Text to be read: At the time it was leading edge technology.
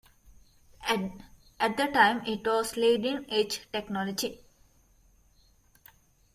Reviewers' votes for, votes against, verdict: 1, 2, rejected